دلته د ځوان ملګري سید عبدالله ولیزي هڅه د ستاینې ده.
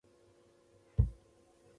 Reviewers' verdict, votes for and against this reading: rejected, 0, 2